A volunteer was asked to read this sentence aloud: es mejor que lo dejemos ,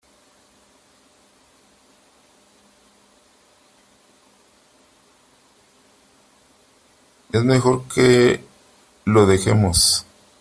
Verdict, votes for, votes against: rejected, 1, 3